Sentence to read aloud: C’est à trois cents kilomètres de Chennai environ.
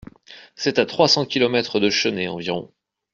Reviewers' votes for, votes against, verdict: 2, 0, accepted